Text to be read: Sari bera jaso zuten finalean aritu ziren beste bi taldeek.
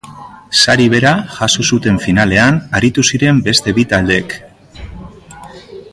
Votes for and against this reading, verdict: 3, 1, accepted